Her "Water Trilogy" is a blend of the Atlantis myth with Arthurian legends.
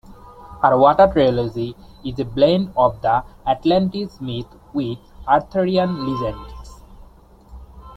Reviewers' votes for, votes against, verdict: 0, 2, rejected